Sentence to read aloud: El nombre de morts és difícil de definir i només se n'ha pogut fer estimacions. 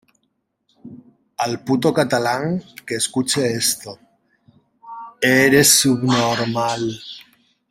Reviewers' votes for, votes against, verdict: 0, 2, rejected